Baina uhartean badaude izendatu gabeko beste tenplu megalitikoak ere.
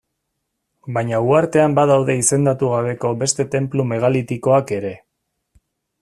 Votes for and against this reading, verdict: 2, 0, accepted